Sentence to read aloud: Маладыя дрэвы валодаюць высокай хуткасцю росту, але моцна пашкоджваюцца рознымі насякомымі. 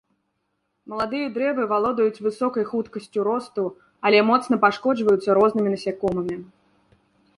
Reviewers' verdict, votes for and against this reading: accepted, 2, 0